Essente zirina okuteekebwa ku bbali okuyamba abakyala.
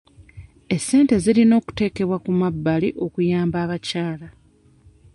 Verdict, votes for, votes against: rejected, 0, 2